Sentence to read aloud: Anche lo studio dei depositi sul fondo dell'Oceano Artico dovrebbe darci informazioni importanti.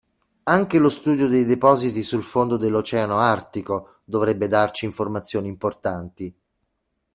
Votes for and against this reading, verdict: 2, 0, accepted